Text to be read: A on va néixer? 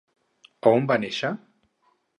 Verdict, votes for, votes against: accepted, 6, 0